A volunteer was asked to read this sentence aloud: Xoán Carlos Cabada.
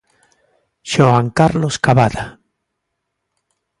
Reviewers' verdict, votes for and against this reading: accepted, 2, 0